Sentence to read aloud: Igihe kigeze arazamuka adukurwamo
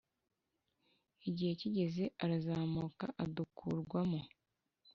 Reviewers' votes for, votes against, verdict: 0, 2, rejected